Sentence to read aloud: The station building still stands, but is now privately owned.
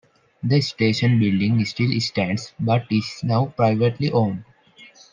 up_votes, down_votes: 0, 2